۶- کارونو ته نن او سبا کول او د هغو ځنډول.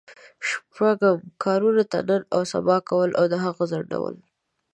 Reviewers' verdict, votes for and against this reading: rejected, 0, 2